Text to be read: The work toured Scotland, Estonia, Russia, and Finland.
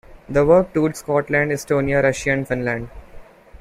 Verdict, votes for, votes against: rejected, 1, 2